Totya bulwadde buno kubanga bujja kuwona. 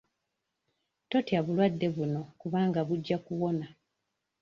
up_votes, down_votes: 2, 0